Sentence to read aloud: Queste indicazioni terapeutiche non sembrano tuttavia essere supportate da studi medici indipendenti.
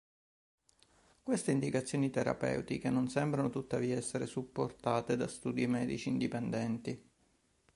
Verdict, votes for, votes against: accepted, 2, 0